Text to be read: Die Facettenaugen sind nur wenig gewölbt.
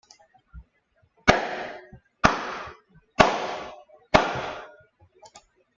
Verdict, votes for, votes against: rejected, 0, 2